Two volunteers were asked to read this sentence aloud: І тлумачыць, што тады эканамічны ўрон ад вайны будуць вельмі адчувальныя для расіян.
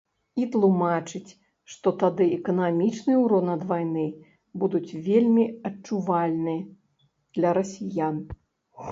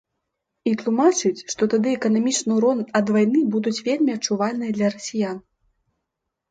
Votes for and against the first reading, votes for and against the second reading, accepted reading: 1, 2, 2, 0, second